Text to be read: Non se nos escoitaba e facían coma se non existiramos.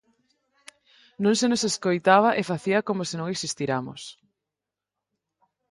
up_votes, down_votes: 2, 4